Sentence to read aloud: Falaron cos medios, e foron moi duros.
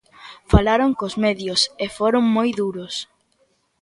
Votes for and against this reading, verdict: 3, 0, accepted